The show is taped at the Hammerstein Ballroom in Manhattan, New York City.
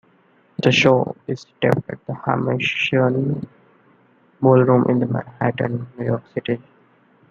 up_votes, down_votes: 2, 1